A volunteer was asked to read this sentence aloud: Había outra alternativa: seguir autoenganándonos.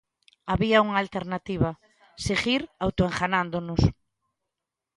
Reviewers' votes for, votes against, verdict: 0, 2, rejected